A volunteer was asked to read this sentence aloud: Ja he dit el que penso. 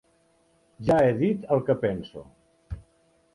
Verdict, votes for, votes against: accepted, 2, 0